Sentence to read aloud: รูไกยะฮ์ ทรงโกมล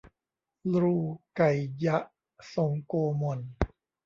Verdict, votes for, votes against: rejected, 1, 2